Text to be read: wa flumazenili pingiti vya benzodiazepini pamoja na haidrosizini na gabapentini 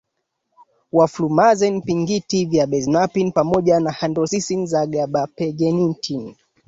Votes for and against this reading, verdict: 2, 1, accepted